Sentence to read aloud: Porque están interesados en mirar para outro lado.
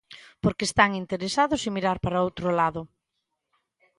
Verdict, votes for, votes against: accepted, 2, 0